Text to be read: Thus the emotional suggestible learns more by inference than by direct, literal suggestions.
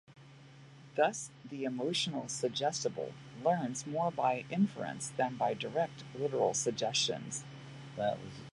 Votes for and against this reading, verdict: 0, 2, rejected